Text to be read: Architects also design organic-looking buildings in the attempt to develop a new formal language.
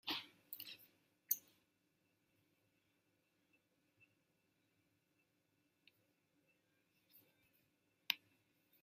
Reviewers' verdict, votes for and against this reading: rejected, 0, 2